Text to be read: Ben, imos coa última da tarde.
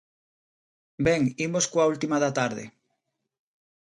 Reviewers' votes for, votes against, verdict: 2, 0, accepted